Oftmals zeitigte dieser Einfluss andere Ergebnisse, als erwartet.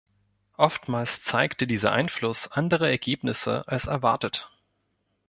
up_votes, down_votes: 1, 2